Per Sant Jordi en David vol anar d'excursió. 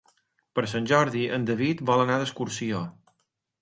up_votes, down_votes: 2, 0